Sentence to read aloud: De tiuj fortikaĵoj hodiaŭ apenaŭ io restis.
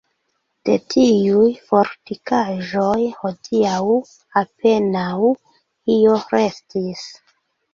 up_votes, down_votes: 2, 0